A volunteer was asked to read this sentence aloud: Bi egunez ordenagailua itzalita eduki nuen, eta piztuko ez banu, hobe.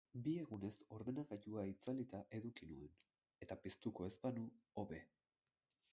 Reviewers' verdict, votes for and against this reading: rejected, 4, 6